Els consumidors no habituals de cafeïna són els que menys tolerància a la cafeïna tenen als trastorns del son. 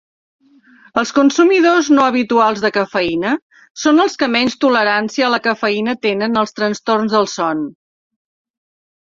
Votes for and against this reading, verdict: 3, 0, accepted